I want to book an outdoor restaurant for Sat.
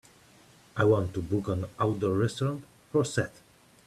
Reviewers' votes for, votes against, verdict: 2, 0, accepted